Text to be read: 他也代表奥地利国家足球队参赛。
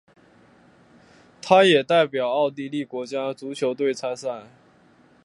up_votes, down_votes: 2, 0